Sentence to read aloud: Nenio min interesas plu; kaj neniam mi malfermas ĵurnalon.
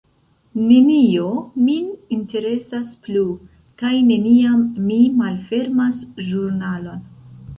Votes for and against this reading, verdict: 0, 2, rejected